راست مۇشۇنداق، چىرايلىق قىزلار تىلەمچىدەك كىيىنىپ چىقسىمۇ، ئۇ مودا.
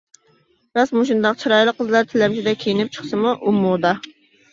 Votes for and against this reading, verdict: 2, 0, accepted